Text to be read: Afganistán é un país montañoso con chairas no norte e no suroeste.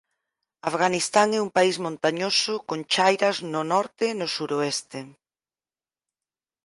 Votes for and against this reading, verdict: 4, 0, accepted